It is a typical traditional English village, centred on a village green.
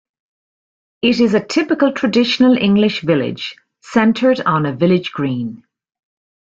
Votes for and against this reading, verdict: 2, 0, accepted